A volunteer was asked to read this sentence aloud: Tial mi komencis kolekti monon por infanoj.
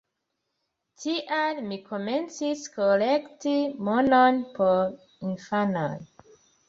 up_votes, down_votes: 3, 0